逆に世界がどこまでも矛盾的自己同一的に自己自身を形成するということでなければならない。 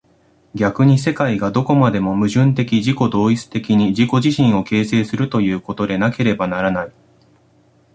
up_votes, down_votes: 2, 0